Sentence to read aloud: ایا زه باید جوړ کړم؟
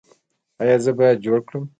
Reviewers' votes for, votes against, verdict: 2, 1, accepted